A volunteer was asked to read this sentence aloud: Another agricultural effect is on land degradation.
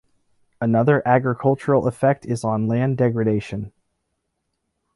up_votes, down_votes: 2, 1